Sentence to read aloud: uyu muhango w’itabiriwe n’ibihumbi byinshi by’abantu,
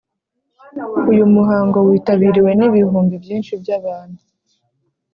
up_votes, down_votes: 4, 0